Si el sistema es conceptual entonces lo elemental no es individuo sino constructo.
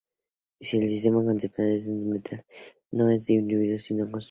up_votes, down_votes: 2, 2